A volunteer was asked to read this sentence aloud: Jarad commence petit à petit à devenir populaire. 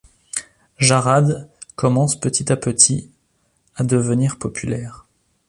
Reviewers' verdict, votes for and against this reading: accepted, 2, 0